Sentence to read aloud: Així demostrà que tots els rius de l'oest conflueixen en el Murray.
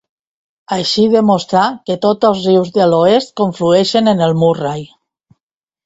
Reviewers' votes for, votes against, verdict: 2, 0, accepted